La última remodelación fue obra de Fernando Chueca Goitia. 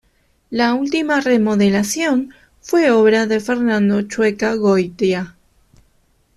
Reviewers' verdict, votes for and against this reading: accepted, 2, 0